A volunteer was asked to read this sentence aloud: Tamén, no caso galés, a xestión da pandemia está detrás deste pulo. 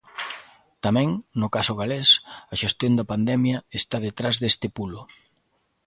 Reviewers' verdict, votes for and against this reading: accepted, 2, 0